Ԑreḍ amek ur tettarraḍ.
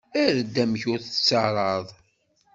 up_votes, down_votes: 2, 0